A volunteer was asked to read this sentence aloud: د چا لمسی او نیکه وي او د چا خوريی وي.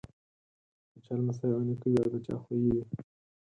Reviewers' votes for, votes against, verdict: 2, 4, rejected